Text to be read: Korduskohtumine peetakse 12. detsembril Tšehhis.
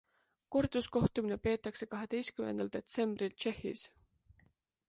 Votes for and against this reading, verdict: 0, 2, rejected